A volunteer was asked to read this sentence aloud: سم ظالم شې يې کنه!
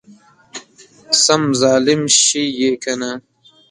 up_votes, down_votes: 0, 2